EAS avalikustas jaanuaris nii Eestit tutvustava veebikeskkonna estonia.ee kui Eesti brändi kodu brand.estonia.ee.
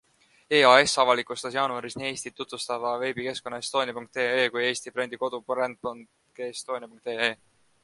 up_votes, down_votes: 2, 1